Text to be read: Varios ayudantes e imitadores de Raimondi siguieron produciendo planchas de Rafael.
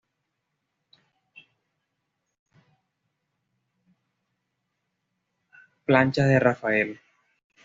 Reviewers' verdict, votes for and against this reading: rejected, 1, 2